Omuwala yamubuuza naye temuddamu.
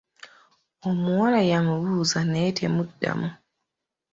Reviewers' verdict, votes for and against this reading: accepted, 2, 1